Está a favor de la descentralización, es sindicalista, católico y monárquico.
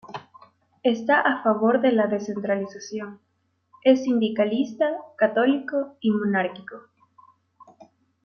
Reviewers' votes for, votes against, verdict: 2, 0, accepted